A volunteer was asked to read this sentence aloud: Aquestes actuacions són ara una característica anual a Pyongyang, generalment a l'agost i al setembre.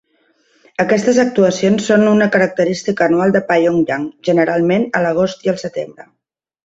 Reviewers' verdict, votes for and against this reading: accepted, 2, 1